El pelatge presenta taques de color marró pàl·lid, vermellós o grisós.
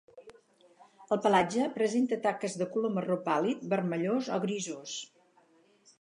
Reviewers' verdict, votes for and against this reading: accepted, 2, 0